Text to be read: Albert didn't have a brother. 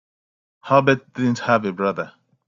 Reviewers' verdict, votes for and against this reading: accepted, 2, 1